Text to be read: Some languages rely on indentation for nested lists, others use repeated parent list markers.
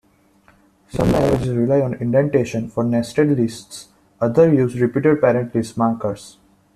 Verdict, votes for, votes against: rejected, 0, 2